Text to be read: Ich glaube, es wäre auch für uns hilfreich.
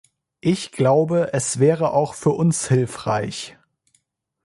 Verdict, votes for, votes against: accepted, 2, 0